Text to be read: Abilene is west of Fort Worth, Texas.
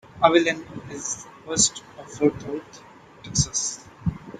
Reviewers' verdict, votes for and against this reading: accepted, 2, 1